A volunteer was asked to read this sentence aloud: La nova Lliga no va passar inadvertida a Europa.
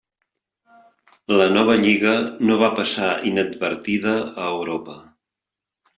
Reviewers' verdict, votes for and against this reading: accepted, 3, 0